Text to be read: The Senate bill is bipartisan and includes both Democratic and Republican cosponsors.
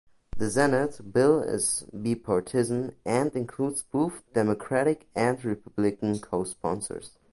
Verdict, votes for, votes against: rejected, 0, 2